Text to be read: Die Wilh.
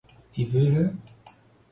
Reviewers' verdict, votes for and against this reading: rejected, 2, 4